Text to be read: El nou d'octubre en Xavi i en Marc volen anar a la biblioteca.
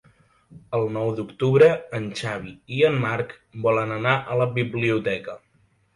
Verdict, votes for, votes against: accepted, 2, 0